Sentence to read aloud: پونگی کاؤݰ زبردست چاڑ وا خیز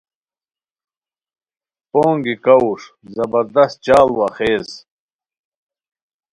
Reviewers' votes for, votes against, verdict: 2, 0, accepted